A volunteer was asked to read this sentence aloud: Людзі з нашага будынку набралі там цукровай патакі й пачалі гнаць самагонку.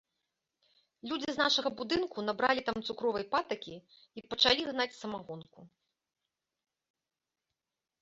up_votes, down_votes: 2, 0